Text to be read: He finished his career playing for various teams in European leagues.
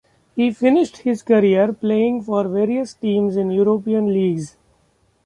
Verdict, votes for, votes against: accepted, 2, 0